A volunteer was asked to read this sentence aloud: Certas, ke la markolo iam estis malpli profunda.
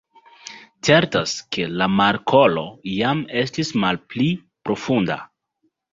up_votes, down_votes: 2, 0